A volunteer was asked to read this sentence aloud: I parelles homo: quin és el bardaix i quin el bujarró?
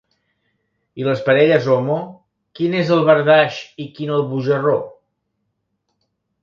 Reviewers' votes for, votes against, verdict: 1, 2, rejected